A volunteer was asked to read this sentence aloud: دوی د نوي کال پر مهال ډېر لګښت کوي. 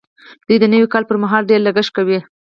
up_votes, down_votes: 4, 0